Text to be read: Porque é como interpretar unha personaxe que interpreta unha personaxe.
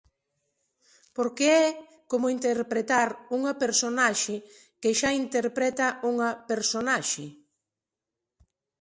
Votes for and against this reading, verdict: 1, 2, rejected